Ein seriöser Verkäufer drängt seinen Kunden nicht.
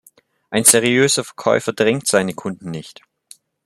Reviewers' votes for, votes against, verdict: 1, 2, rejected